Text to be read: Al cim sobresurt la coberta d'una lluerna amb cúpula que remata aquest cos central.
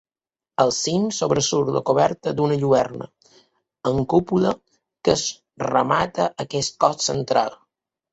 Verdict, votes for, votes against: rejected, 0, 2